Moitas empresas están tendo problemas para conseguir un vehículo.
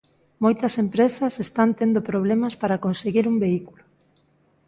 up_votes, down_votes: 2, 0